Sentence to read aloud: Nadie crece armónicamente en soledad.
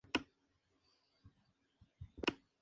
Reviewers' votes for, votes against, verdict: 0, 2, rejected